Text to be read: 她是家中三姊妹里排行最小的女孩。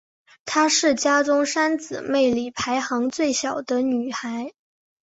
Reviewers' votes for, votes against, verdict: 2, 0, accepted